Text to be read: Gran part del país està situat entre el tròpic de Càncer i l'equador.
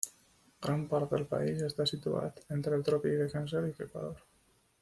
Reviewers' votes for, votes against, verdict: 1, 2, rejected